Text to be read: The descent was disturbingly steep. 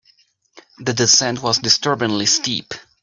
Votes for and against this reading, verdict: 3, 0, accepted